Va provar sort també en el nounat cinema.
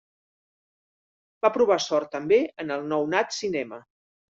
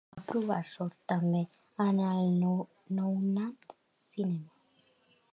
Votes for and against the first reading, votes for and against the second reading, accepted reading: 2, 0, 0, 3, first